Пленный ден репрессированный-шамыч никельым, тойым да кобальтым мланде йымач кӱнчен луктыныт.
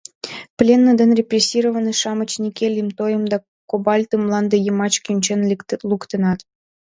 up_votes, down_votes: 1, 2